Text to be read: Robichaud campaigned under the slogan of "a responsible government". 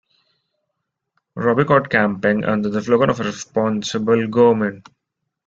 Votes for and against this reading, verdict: 1, 2, rejected